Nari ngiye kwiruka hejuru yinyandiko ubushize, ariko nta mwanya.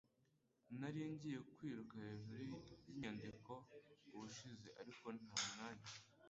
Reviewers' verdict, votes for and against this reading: rejected, 1, 2